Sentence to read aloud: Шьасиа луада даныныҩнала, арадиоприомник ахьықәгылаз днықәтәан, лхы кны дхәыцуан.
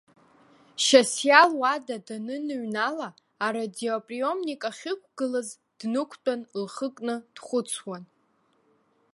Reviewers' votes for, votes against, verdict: 2, 0, accepted